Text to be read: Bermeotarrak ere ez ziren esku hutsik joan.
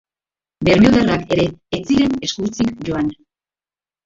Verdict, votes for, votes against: rejected, 0, 2